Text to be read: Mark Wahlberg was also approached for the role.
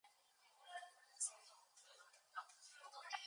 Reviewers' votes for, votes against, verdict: 2, 0, accepted